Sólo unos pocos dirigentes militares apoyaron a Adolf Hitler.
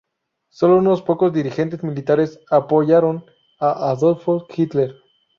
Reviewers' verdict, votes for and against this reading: rejected, 0, 2